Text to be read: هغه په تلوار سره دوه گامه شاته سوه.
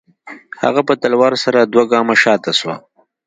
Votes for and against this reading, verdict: 2, 0, accepted